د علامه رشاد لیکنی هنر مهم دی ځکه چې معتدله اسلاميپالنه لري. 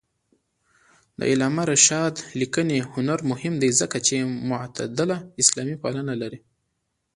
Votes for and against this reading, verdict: 2, 1, accepted